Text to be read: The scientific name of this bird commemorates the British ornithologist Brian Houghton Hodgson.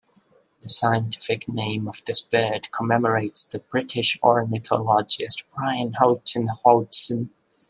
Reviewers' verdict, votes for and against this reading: rejected, 1, 2